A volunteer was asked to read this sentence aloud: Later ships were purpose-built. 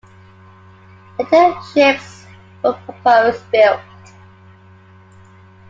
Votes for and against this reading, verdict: 0, 2, rejected